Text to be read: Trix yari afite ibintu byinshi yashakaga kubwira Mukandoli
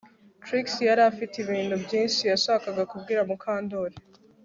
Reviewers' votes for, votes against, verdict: 2, 0, accepted